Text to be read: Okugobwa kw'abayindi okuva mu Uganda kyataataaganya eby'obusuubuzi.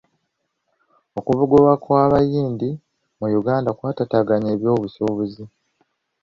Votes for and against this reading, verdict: 0, 2, rejected